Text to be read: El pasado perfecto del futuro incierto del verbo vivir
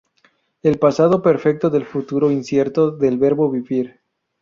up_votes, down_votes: 2, 0